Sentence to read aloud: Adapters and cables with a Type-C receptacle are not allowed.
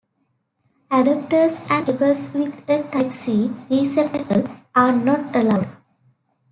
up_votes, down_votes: 1, 2